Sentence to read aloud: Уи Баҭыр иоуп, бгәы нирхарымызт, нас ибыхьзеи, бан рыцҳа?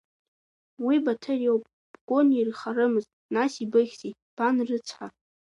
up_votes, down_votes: 1, 2